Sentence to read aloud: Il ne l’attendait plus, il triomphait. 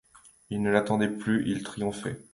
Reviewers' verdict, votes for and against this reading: accepted, 2, 0